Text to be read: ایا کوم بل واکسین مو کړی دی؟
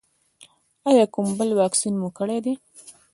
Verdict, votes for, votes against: rejected, 1, 2